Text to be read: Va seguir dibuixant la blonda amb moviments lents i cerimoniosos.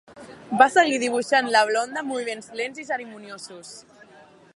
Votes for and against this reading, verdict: 2, 1, accepted